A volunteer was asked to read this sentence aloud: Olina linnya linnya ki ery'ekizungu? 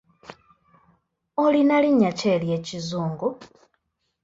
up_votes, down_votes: 1, 2